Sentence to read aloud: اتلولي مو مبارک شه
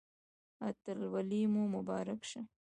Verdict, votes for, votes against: rejected, 1, 2